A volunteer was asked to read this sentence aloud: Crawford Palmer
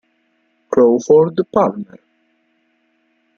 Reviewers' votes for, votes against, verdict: 2, 0, accepted